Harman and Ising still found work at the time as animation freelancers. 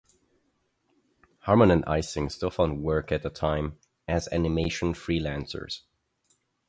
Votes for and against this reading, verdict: 4, 0, accepted